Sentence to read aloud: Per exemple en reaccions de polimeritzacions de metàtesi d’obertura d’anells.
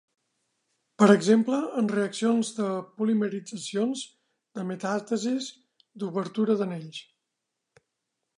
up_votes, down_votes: 1, 2